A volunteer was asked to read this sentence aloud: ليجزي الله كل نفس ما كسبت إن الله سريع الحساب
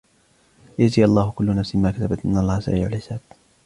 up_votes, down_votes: 2, 0